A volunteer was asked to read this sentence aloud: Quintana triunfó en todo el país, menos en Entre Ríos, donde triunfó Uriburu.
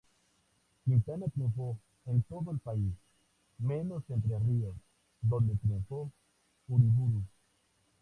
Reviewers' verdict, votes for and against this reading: rejected, 0, 2